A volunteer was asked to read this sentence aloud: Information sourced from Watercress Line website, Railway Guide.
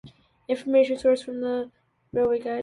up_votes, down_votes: 0, 2